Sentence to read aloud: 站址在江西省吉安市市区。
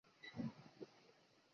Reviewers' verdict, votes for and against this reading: rejected, 2, 5